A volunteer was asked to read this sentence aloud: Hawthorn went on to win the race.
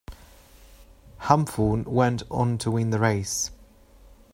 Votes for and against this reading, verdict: 0, 2, rejected